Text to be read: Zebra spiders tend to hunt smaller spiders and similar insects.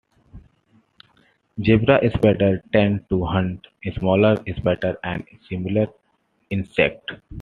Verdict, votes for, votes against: rejected, 1, 2